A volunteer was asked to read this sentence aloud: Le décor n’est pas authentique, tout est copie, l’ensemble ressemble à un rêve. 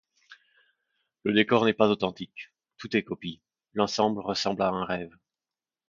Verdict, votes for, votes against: accepted, 2, 0